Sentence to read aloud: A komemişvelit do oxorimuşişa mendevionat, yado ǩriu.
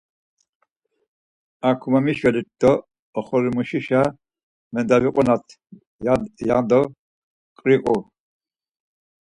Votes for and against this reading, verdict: 0, 4, rejected